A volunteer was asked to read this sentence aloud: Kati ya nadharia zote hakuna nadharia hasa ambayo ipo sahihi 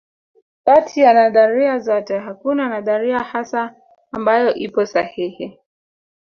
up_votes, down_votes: 0, 2